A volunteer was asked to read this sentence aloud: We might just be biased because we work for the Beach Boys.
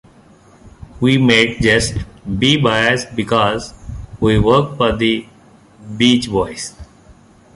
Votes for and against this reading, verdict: 2, 1, accepted